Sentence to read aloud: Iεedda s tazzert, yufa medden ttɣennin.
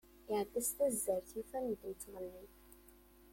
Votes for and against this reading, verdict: 2, 1, accepted